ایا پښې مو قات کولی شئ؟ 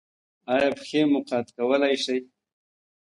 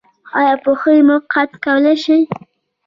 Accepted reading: first